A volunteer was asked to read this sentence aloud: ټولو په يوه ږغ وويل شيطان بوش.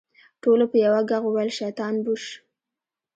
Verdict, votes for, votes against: rejected, 0, 2